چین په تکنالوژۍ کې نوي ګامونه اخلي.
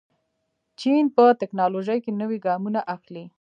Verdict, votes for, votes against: accepted, 2, 1